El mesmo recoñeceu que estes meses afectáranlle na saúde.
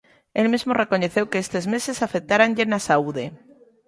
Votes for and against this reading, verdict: 2, 0, accepted